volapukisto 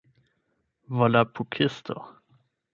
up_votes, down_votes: 12, 0